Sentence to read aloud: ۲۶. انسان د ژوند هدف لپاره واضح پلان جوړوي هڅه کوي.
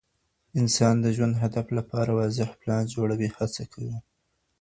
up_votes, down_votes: 0, 2